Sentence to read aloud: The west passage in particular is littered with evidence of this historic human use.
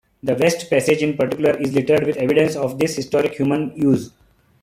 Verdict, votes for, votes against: accepted, 2, 1